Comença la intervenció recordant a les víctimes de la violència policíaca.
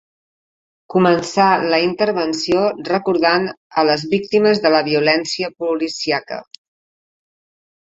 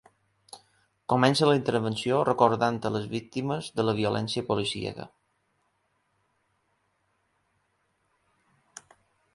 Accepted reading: second